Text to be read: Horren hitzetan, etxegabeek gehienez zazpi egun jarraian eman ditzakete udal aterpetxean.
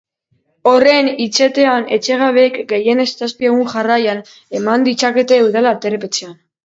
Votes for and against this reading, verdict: 1, 2, rejected